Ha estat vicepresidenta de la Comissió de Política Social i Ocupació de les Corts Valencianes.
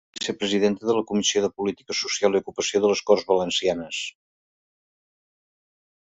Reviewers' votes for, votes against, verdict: 0, 2, rejected